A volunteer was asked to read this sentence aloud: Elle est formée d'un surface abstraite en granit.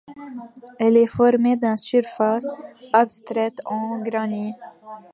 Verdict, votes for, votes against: rejected, 0, 2